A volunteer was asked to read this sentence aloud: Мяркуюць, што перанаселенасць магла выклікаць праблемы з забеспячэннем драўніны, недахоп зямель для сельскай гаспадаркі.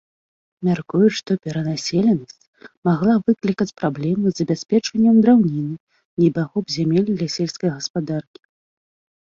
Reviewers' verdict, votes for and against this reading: rejected, 1, 2